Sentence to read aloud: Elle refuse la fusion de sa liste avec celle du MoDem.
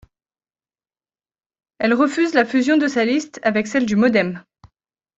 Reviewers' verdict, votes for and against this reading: accepted, 2, 0